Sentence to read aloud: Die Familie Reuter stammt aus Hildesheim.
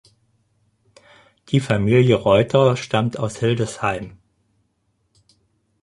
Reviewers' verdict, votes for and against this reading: accepted, 4, 0